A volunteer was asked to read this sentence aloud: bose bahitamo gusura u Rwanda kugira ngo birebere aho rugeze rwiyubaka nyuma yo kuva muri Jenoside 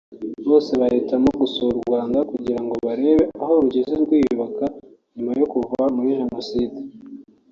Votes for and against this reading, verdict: 0, 2, rejected